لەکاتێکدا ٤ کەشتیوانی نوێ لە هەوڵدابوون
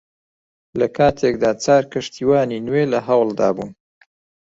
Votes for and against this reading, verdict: 0, 2, rejected